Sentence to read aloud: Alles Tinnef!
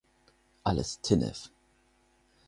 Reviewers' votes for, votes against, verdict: 4, 0, accepted